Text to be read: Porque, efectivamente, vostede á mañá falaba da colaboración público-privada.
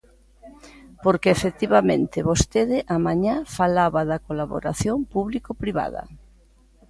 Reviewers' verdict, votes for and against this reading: accepted, 2, 0